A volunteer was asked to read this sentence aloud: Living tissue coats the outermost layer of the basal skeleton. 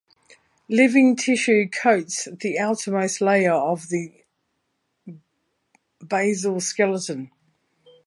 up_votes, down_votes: 2, 0